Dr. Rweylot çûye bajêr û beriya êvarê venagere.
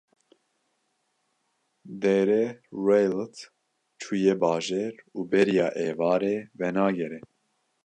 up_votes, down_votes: 2, 0